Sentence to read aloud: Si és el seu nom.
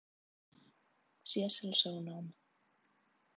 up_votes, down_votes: 3, 0